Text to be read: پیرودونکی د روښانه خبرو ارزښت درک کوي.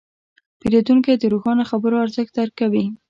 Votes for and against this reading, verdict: 2, 0, accepted